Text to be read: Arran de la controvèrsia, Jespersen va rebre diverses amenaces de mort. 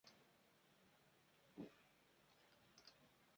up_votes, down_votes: 0, 2